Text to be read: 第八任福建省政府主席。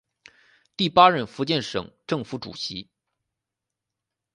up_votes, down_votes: 2, 2